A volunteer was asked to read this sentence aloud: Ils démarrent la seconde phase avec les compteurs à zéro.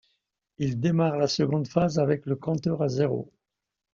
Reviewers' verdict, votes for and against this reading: rejected, 0, 2